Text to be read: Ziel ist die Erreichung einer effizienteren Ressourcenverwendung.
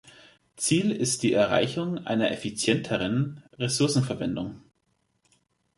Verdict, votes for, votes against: accepted, 2, 0